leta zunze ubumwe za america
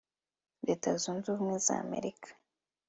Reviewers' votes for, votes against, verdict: 2, 0, accepted